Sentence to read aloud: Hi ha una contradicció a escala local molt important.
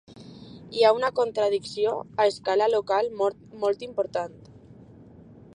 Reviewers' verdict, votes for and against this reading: accepted, 3, 0